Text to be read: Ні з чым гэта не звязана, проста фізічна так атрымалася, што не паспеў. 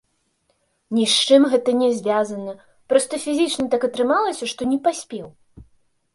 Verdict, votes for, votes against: accepted, 3, 0